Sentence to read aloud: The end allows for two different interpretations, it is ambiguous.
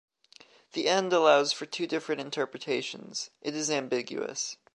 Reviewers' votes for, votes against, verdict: 0, 2, rejected